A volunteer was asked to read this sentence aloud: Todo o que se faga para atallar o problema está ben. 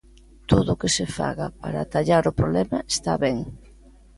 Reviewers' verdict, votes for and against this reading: accepted, 2, 0